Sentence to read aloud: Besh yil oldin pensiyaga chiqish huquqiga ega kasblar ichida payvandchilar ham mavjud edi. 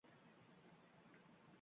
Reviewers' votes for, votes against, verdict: 0, 2, rejected